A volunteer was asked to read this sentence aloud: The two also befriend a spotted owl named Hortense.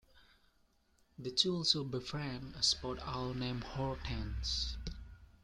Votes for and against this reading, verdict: 2, 0, accepted